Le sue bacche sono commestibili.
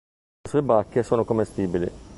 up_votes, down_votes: 1, 2